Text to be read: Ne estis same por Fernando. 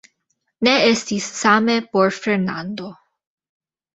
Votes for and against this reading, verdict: 1, 2, rejected